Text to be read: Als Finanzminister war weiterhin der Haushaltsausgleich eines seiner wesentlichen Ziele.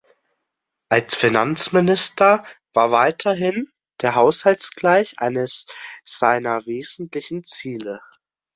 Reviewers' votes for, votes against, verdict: 0, 2, rejected